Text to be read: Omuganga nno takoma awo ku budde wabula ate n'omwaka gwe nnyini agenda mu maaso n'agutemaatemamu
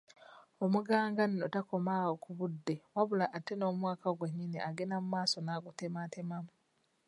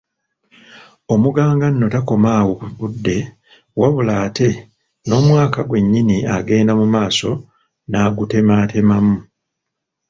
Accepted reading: second